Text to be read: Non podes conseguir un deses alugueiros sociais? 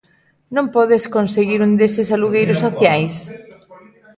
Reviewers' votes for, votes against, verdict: 1, 2, rejected